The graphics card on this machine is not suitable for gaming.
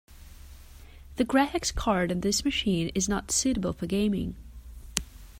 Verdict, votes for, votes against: accepted, 2, 0